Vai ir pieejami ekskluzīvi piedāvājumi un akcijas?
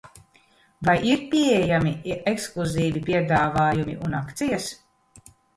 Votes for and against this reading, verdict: 0, 2, rejected